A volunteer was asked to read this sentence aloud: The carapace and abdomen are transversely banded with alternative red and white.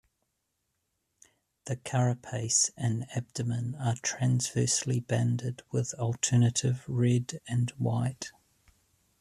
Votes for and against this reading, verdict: 1, 2, rejected